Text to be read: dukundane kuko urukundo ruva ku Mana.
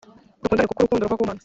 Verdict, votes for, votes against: rejected, 1, 2